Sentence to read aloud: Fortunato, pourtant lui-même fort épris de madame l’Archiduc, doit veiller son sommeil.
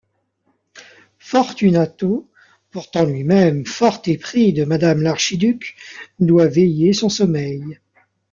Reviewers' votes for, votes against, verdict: 2, 0, accepted